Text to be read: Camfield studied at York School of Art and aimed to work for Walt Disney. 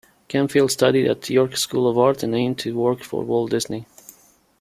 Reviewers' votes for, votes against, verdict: 2, 0, accepted